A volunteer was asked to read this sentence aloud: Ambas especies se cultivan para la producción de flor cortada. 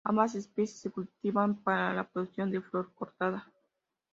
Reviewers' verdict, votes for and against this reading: accepted, 2, 0